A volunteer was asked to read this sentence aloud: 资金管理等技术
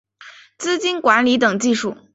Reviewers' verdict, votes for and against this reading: accepted, 4, 0